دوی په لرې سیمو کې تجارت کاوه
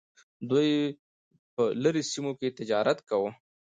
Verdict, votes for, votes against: accepted, 2, 0